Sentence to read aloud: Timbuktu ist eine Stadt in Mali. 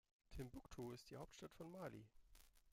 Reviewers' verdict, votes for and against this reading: rejected, 0, 2